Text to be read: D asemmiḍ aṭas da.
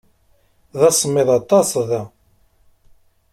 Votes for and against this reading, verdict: 2, 0, accepted